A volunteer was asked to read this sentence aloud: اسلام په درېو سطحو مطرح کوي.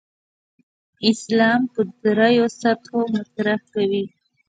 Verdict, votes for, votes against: rejected, 1, 2